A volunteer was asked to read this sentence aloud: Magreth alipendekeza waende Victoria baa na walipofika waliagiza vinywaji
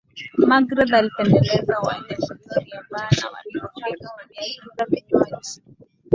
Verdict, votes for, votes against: rejected, 5, 6